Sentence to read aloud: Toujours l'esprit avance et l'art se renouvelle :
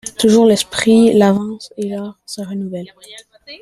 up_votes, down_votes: 0, 2